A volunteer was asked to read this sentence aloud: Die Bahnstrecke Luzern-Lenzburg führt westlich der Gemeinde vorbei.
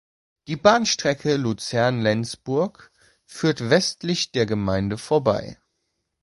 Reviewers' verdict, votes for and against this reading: accepted, 2, 0